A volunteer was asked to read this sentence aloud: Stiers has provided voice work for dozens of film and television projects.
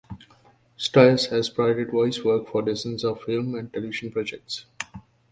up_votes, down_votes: 2, 0